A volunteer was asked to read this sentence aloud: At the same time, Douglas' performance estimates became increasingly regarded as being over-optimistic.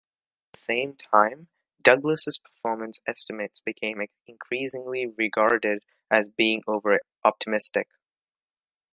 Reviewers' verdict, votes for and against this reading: rejected, 1, 2